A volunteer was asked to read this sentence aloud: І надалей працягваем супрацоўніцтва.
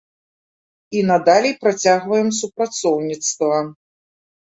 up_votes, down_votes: 2, 0